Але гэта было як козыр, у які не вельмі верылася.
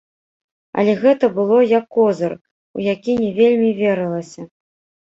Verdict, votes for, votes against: rejected, 1, 3